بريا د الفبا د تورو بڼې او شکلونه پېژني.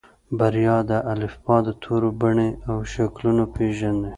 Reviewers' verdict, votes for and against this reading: accepted, 2, 0